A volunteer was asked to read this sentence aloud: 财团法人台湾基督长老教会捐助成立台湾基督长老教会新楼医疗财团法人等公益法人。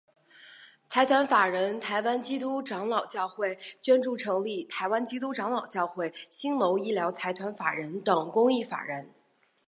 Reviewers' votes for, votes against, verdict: 7, 0, accepted